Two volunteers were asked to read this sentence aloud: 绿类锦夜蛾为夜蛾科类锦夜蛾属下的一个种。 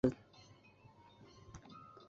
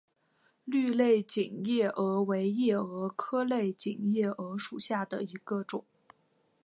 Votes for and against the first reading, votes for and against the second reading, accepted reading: 0, 2, 5, 0, second